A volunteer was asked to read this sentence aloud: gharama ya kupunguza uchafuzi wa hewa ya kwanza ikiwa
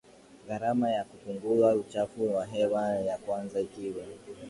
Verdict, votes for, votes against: accepted, 2, 0